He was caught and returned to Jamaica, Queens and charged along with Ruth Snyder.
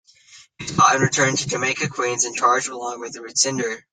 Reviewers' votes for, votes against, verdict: 0, 2, rejected